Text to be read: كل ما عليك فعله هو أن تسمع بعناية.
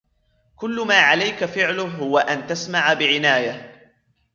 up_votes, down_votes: 1, 2